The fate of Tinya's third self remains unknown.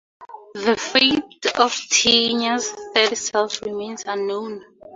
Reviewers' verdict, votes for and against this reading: accepted, 2, 0